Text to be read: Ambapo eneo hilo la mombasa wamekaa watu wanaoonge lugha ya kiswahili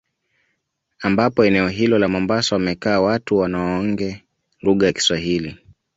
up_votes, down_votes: 2, 0